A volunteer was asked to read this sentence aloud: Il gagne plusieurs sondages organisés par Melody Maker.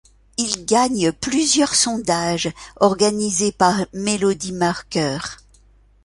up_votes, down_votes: 1, 2